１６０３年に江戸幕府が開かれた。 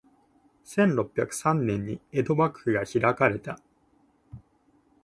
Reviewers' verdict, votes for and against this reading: rejected, 0, 2